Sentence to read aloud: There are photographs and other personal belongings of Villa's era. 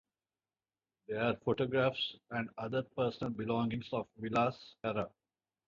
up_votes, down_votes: 2, 0